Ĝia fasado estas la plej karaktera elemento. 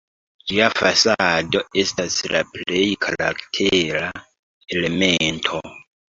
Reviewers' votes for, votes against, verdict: 1, 2, rejected